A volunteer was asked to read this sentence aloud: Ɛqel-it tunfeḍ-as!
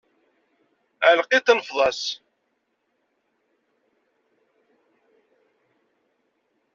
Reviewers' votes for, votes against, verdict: 0, 2, rejected